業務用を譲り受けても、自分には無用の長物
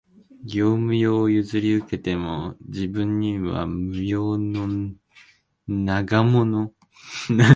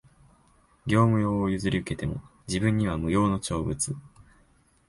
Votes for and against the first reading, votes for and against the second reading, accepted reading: 0, 2, 2, 0, second